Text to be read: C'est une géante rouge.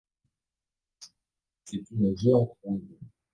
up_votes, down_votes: 0, 2